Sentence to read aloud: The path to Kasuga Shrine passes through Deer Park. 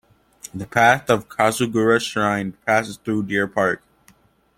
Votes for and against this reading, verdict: 0, 2, rejected